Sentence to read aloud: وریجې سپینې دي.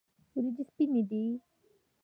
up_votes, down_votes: 2, 1